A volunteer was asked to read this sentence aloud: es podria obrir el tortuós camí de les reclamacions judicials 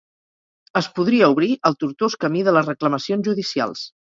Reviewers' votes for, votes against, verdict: 2, 2, rejected